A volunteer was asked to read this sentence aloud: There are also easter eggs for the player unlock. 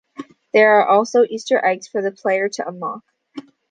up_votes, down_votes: 1, 2